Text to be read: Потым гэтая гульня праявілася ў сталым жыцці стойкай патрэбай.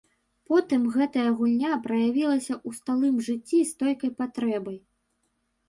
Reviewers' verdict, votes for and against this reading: rejected, 1, 2